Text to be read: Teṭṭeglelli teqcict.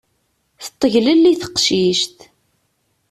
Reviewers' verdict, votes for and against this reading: accepted, 2, 0